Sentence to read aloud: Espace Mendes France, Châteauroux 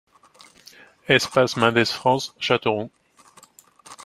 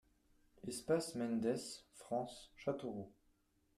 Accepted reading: first